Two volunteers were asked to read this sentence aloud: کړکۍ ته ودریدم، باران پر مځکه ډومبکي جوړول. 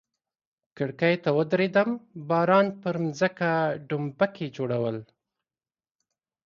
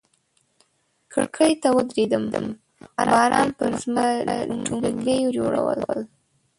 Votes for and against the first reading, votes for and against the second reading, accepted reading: 2, 0, 0, 2, first